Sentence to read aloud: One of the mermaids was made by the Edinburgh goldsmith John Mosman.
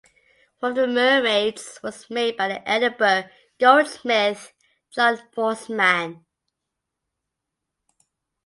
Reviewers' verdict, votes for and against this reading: accepted, 2, 0